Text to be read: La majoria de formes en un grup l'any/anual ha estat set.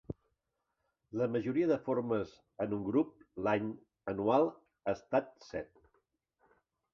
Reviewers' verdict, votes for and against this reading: accepted, 3, 0